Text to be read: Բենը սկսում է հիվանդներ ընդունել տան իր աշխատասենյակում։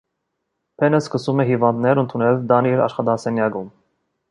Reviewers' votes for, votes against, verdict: 1, 2, rejected